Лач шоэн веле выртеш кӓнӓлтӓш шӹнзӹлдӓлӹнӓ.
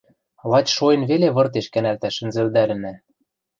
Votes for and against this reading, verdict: 0, 2, rejected